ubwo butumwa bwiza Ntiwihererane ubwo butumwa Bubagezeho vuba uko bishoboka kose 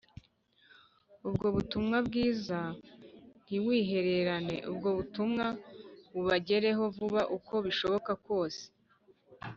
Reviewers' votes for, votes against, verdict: 0, 2, rejected